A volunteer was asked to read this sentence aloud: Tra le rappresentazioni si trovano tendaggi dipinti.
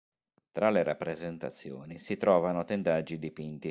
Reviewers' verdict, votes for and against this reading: accepted, 2, 0